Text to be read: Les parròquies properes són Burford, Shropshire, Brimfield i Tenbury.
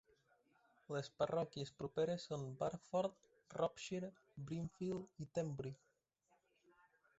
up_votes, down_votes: 1, 2